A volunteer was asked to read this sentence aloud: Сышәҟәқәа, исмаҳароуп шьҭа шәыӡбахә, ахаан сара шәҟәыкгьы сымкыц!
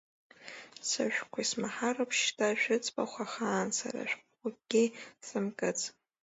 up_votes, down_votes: 1, 2